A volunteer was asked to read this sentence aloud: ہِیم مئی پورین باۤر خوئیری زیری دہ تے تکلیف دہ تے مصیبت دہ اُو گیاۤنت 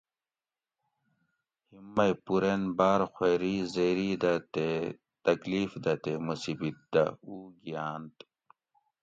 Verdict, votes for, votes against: accepted, 2, 0